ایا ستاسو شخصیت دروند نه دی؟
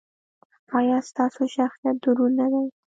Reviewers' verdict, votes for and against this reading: accepted, 2, 0